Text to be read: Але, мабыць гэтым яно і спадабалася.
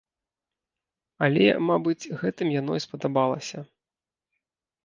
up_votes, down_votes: 2, 0